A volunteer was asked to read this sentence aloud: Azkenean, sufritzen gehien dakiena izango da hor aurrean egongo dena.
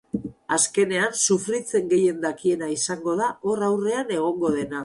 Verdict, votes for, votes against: accepted, 4, 0